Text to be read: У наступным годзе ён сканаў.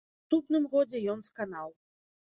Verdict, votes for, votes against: rejected, 0, 3